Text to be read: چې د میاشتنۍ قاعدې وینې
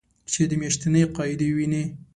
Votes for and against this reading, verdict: 2, 0, accepted